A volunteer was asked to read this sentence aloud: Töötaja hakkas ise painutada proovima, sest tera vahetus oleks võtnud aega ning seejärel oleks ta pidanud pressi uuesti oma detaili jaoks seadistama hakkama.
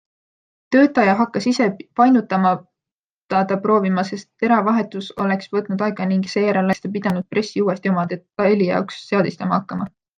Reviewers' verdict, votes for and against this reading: rejected, 0, 2